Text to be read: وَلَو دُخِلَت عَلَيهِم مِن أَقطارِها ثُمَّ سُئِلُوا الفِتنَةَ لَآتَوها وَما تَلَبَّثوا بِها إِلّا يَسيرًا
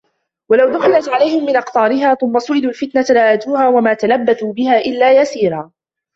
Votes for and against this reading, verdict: 0, 2, rejected